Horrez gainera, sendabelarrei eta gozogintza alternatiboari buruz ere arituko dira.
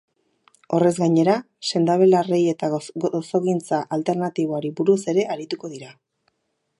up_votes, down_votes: 2, 2